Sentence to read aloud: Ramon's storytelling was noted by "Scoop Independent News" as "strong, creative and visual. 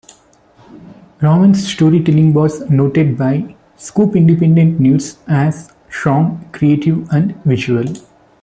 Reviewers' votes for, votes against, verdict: 2, 1, accepted